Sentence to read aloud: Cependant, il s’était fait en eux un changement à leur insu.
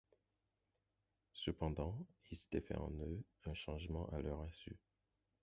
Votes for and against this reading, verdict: 0, 4, rejected